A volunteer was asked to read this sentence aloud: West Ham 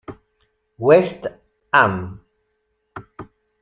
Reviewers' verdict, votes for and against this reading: rejected, 0, 2